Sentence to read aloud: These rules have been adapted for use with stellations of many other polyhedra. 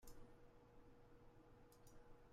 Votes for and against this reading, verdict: 0, 2, rejected